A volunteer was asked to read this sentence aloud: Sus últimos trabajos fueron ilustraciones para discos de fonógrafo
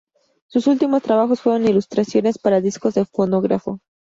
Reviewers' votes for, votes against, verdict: 2, 0, accepted